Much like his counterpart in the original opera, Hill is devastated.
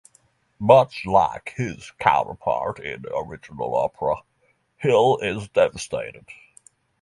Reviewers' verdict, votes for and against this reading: rejected, 3, 3